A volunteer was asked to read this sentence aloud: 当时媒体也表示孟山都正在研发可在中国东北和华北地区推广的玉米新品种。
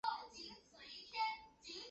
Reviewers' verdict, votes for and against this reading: accepted, 2, 0